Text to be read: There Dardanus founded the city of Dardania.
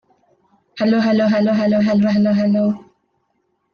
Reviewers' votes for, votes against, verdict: 0, 2, rejected